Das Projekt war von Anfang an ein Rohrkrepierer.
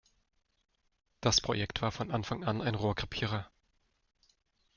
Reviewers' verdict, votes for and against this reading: accepted, 2, 0